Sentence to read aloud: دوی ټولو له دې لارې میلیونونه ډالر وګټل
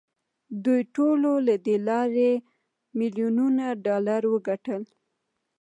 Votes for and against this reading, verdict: 1, 2, rejected